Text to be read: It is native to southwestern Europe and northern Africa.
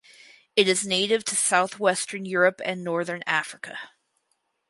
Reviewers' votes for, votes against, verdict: 4, 0, accepted